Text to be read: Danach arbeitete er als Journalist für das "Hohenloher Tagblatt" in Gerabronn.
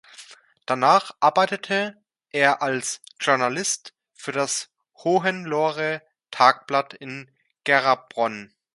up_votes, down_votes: 0, 2